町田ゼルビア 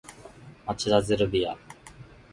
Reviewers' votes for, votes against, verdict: 0, 2, rejected